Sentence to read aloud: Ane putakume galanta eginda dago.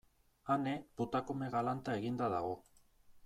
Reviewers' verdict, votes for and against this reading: accepted, 2, 0